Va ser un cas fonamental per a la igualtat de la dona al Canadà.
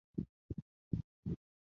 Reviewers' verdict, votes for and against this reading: rejected, 0, 2